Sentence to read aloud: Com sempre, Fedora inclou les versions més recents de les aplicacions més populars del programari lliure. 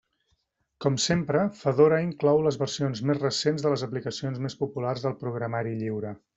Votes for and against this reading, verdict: 3, 0, accepted